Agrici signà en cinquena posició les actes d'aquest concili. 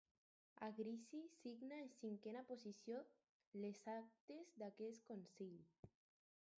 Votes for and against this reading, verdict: 0, 4, rejected